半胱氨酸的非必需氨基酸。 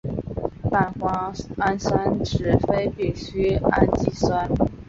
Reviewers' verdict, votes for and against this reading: rejected, 0, 2